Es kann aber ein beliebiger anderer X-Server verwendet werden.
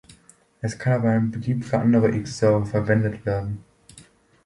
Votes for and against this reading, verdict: 1, 2, rejected